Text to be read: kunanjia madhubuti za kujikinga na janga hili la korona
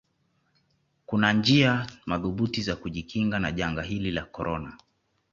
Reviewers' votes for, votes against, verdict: 2, 0, accepted